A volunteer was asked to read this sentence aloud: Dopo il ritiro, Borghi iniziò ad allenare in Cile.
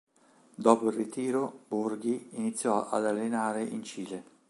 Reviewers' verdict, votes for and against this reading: accepted, 3, 0